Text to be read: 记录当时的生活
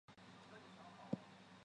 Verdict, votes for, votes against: rejected, 1, 3